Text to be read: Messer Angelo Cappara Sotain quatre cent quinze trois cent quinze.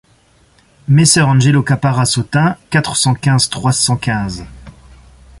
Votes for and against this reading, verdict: 2, 0, accepted